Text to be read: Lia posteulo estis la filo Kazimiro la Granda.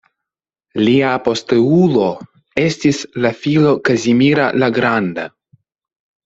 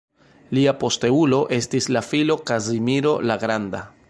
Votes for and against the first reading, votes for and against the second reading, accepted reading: 0, 2, 2, 0, second